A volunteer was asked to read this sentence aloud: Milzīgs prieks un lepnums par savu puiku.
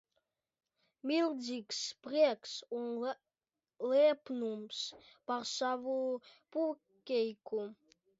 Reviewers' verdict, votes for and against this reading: rejected, 0, 2